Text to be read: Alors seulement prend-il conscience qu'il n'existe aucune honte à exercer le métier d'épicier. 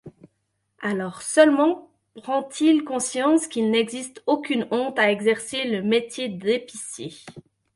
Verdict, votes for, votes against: accepted, 2, 0